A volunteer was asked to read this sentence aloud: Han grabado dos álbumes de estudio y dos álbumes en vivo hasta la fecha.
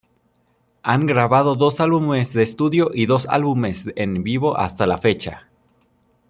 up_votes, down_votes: 2, 0